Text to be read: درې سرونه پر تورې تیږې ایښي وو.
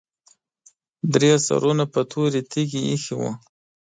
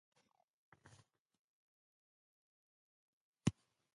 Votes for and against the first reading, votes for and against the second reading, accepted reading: 2, 0, 0, 2, first